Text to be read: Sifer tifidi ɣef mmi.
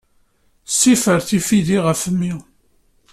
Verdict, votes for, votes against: accepted, 2, 0